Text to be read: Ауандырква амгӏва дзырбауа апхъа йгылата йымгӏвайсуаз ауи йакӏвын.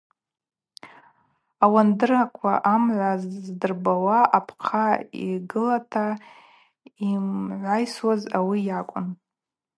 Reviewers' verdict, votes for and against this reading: accepted, 2, 0